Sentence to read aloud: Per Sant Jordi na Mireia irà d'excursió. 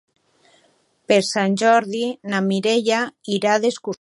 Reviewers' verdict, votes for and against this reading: rejected, 0, 2